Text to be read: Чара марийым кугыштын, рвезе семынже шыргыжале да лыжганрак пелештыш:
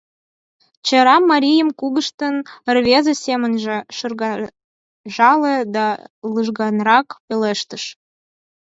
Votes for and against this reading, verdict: 2, 4, rejected